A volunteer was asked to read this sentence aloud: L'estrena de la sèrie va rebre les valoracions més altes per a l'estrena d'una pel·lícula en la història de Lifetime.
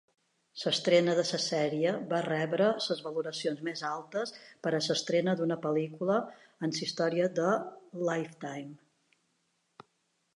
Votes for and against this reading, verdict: 0, 2, rejected